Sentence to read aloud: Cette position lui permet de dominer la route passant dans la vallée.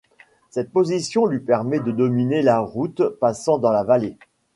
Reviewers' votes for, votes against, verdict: 2, 0, accepted